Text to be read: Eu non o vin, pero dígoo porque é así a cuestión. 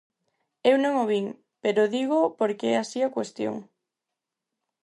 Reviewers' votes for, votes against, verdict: 4, 0, accepted